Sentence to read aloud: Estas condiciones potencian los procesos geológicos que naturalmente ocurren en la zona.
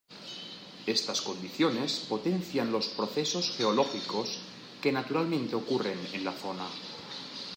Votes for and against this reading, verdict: 2, 0, accepted